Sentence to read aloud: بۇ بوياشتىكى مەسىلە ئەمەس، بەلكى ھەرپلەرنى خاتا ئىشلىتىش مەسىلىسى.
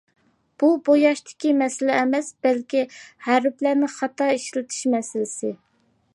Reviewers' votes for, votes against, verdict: 2, 0, accepted